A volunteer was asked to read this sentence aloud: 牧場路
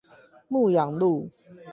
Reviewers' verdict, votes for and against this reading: rejected, 4, 8